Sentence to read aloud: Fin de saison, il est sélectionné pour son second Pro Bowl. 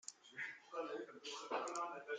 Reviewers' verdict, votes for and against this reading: rejected, 0, 2